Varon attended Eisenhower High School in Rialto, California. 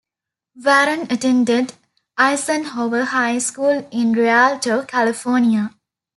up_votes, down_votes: 2, 0